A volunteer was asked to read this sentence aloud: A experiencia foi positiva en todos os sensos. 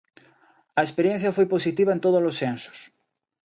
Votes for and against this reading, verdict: 2, 0, accepted